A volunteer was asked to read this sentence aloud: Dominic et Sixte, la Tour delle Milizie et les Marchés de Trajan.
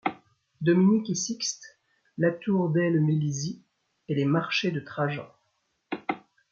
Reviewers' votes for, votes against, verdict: 2, 0, accepted